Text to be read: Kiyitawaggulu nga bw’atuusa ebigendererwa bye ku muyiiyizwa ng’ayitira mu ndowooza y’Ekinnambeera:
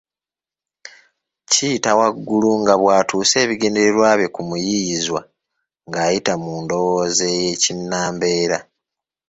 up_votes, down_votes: 3, 0